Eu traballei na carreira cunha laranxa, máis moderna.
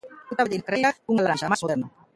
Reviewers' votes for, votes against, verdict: 0, 2, rejected